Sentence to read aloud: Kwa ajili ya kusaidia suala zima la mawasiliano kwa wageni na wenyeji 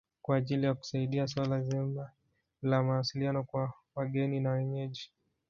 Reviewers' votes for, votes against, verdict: 2, 1, accepted